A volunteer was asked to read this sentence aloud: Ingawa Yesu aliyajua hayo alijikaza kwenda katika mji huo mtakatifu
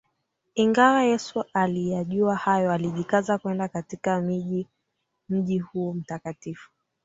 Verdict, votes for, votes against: rejected, 1, 2